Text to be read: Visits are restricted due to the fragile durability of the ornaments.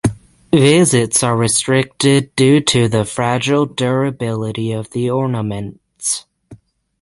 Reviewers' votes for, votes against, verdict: 6, 0, accepted